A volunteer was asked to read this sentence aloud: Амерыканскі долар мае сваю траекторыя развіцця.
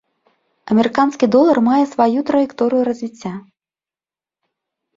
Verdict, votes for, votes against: accepted, 2, 0